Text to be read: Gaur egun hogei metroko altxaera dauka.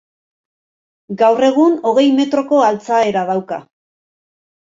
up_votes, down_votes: 2, 0